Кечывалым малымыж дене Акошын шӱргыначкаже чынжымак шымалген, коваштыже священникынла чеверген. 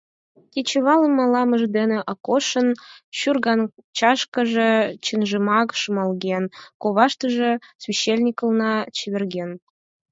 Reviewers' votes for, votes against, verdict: 4, 2, accepted